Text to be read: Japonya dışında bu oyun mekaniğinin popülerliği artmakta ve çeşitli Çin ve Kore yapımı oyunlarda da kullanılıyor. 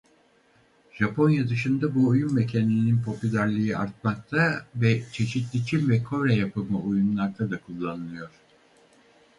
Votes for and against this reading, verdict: 0, 4, rejected